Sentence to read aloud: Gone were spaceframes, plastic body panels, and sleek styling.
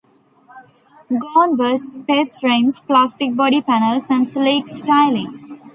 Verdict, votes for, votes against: rejected, 0, 2